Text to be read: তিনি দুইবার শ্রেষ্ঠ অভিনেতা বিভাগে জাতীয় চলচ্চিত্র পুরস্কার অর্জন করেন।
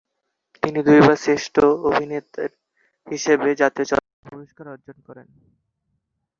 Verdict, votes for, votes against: rejected, 1, 2